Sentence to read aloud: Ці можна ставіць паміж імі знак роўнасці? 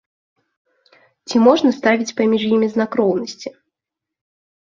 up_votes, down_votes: 2, 0